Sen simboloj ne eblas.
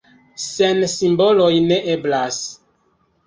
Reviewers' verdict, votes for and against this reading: accepted, 2, 1